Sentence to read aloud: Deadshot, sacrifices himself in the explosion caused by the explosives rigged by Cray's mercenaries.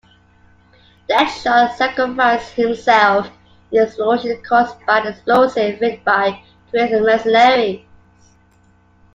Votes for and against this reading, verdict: 0, 2, rejected